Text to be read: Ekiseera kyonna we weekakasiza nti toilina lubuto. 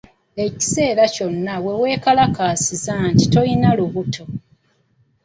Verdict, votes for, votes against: rejected, 1, 3